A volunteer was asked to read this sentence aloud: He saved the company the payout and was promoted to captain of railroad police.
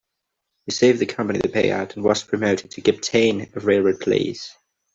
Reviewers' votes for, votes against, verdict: 0, 2, rejected